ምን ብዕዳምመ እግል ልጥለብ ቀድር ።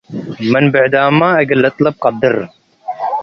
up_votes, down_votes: 2, 0